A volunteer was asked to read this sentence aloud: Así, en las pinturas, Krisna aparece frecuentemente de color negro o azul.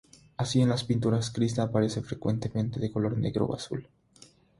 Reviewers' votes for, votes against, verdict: 3, 0, accepted